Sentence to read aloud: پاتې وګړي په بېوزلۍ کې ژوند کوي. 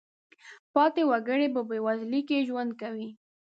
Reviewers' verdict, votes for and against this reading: accepted, 2, 1